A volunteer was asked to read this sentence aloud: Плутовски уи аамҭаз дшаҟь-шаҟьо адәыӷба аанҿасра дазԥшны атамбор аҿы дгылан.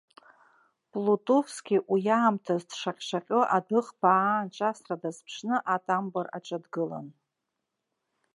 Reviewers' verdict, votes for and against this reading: accepted, 2, 1